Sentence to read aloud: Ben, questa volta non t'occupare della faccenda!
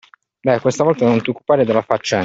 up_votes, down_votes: 1, 2